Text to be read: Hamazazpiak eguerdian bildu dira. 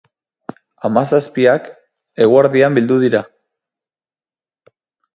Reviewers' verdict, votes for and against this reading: accepted, 4, 0